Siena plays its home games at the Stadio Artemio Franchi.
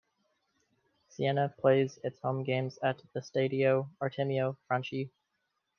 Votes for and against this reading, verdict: 2, 0, accepted